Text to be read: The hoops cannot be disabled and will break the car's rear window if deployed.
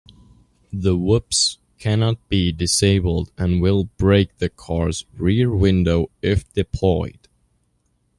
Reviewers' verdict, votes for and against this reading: rejected, 0, 2